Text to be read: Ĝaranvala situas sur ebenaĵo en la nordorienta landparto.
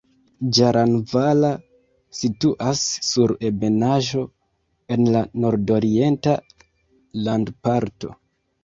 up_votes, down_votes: 0, 2